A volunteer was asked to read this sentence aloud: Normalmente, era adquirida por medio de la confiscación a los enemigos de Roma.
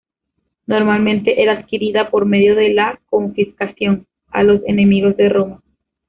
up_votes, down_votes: 1, 2